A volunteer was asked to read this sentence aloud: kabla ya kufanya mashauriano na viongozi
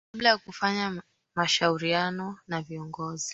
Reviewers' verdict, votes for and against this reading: accepted, 2, 1